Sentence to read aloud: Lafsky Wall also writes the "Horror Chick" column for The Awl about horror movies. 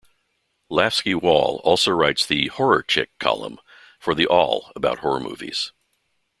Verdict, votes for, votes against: accepted, 2, 0